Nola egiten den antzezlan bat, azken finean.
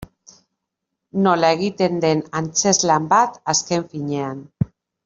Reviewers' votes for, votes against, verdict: 2, 0, accepted